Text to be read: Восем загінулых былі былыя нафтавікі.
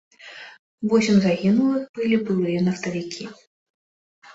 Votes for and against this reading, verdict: 2, 0, accepted